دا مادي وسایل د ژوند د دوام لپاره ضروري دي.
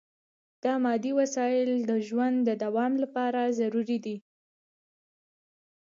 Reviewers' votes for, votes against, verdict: 1, 2, rejected